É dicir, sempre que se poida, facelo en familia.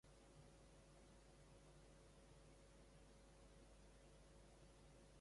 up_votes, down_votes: 0, 2